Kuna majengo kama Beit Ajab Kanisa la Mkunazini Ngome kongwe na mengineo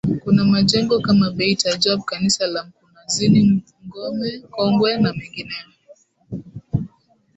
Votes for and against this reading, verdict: 2, 5, rejected